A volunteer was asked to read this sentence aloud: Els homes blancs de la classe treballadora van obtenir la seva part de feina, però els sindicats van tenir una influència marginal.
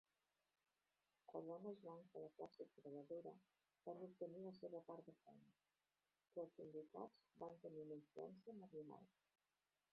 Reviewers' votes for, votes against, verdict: 0, 2, rejected